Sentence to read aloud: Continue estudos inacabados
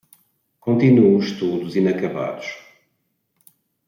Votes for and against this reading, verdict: 1, 2, rejected